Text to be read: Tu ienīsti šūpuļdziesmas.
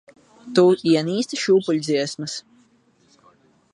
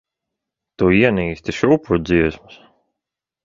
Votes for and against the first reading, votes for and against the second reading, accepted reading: 2, 6, 2, 0, second